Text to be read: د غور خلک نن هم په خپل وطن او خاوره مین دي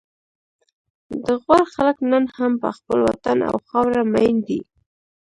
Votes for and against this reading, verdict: 0, 2, rejected